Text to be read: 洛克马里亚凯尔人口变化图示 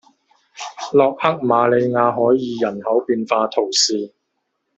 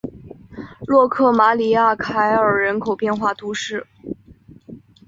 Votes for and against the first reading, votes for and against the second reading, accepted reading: 0, 2, 4, 0, second